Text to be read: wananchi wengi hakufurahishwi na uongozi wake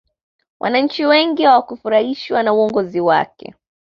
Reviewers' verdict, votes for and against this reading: rejected, 1, 2